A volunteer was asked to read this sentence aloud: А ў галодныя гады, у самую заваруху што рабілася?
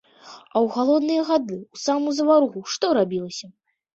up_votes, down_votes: 2, 0